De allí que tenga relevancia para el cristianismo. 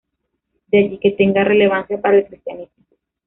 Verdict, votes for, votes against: rejected, 0, 2